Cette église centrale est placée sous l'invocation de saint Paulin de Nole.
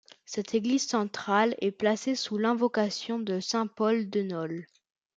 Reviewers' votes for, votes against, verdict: 0, 2, rejected